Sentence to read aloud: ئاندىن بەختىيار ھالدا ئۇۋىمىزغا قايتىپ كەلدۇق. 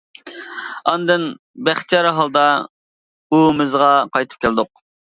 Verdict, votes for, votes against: rejected, 0, 2